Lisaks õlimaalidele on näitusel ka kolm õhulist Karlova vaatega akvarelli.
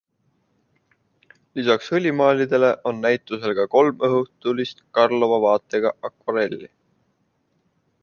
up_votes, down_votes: 1, 2